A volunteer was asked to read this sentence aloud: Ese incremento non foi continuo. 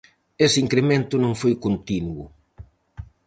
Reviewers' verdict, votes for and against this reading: accepted, 4, 0